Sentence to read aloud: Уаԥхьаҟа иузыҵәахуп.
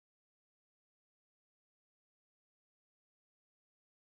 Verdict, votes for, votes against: rejected, 0, 2